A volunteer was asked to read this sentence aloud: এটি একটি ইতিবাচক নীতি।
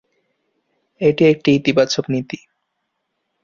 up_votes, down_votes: 2, 0